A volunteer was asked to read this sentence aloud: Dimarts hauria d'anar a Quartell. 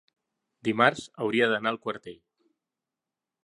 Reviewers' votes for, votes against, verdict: 2, 1, accepted